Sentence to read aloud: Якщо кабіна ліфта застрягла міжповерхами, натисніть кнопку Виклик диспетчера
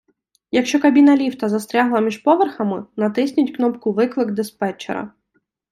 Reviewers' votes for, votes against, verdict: 2, 0, accepted